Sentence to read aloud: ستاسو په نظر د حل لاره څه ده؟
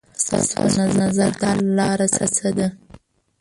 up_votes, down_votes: 0, 3